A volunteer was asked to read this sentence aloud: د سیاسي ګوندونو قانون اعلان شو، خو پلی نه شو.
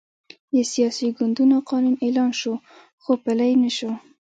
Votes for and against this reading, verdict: 1, 2, rejected